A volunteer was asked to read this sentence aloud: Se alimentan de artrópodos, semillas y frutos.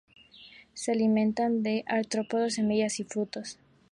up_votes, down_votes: 0, 2